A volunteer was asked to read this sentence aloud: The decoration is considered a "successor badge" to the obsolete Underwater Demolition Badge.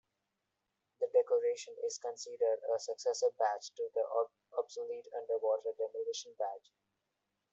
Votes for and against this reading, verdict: 1, 2, rejected